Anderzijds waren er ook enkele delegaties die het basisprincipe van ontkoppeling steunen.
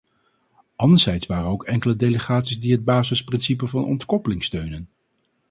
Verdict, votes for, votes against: rejected, 2, 2